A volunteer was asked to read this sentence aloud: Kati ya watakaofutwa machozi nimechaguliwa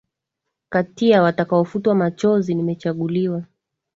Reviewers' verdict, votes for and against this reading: accepted, 2, 0